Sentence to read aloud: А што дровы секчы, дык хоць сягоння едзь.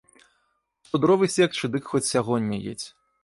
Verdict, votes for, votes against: rejected, 1, 2